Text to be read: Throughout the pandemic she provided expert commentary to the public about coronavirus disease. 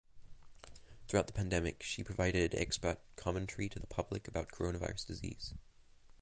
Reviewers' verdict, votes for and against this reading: accepted, 2, 0